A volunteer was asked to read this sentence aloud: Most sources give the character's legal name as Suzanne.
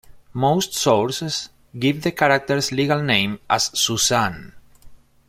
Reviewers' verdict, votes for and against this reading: accepted, 2, 0